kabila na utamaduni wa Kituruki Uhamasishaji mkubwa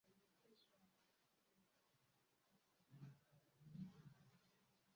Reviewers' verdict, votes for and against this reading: rejected, 0, 2